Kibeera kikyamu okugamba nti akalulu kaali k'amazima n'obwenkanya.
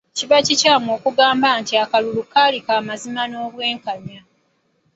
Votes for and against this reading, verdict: 0, 2, rejected